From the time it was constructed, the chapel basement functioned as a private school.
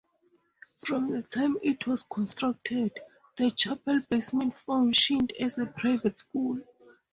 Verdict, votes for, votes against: accepted, 2, 0